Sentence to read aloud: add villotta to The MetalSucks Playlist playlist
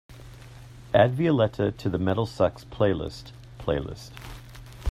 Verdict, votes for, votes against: rejected, 0, 2